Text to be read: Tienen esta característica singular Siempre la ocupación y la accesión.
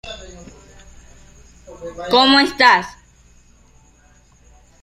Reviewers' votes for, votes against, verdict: 0, 2, rejected